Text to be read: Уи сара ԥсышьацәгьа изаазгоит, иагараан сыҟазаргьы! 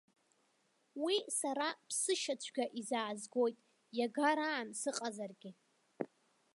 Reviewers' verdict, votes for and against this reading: accepted, 4, 2